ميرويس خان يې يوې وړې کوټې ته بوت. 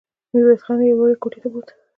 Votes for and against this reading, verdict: 0, 2, rejected